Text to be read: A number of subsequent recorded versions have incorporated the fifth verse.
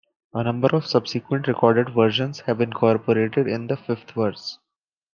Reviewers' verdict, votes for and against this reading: rejected, 1, 2